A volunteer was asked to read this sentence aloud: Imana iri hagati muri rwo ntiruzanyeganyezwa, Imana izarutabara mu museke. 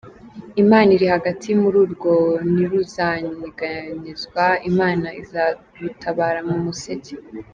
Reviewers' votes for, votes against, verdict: 0, 2, rejected